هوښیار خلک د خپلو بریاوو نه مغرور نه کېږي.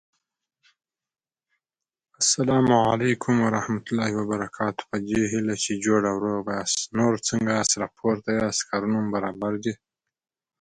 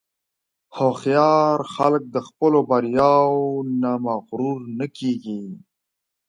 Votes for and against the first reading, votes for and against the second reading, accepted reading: 0, 2, 4, 0, second